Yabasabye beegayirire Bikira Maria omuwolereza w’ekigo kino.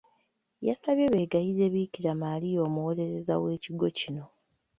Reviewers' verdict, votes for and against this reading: rejected, 1, 2